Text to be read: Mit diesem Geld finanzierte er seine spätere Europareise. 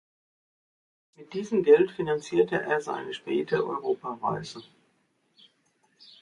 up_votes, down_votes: 0, 2